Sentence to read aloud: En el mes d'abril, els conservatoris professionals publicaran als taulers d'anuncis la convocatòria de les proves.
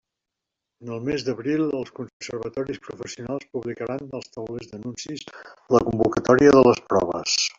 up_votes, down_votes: 1, 2